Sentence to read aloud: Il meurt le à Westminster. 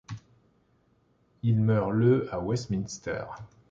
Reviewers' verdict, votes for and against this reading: accepted, 2, 0